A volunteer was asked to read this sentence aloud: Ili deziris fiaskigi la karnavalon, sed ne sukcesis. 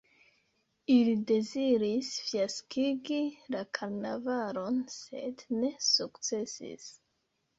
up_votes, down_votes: 0, 2